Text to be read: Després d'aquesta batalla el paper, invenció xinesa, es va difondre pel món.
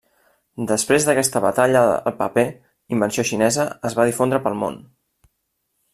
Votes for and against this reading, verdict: 1, 2, rejected